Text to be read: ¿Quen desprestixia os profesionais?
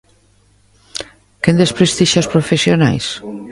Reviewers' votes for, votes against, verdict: 1, 2, rejected